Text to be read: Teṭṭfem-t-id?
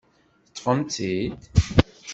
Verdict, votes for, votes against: rejected, 1, 2